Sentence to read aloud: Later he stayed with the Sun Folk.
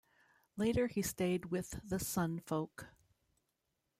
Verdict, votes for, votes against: rejected, 0, 2